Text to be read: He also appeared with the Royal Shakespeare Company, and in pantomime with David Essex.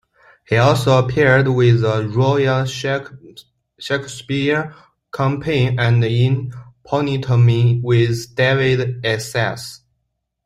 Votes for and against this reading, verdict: 1, 2, rejected